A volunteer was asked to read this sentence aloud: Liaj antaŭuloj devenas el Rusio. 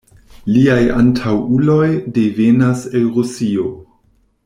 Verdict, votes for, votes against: accepted, 2, 0